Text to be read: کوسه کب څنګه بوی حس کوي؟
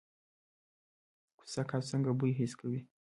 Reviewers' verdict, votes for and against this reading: rejected, 0, 2